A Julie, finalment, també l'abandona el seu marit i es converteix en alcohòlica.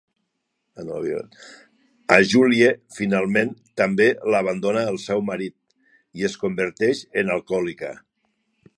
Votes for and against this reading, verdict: 1, 2, rejected